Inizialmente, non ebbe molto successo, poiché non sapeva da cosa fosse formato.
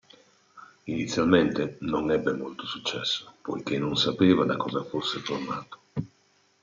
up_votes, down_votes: 2, 0